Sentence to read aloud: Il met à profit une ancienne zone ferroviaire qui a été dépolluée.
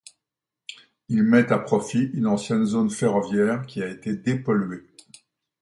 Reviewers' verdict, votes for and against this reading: accepted, 2, 0